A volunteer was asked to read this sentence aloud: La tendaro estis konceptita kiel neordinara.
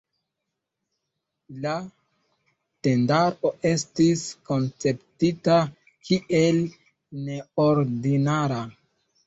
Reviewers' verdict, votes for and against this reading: rejected, 1, 2